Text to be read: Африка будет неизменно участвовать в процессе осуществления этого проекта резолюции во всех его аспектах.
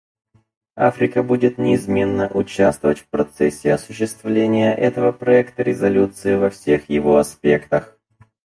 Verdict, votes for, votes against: rejected, 0, 4